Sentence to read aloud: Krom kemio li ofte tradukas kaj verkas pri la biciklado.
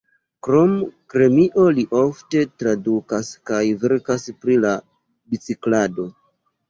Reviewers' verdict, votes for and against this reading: rejected, 0, 2